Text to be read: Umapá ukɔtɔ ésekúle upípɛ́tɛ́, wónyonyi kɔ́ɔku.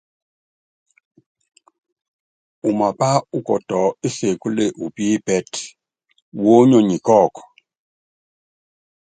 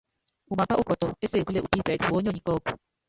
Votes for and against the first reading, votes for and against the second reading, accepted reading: 2, 0, 0, 2, first